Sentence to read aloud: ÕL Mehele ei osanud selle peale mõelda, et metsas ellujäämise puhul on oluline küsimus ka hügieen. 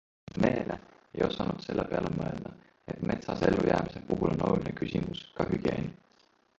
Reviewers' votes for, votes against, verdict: 2, 3, rejected